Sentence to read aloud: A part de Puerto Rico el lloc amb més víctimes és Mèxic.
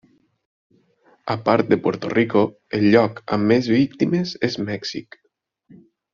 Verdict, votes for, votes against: accepted, 4, 0